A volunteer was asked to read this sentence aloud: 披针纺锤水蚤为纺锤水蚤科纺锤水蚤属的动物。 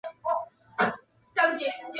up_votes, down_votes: 0, 5